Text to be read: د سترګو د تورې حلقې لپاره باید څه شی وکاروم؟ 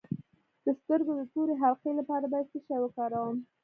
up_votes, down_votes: 2, 0